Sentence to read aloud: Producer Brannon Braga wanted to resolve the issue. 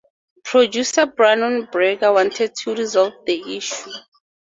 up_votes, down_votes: 4, 0